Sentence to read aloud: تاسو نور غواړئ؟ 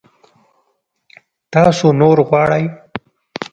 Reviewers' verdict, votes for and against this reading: accepted, 2, 0